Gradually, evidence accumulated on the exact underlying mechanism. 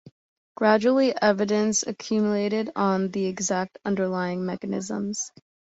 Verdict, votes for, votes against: rejected, 0, 2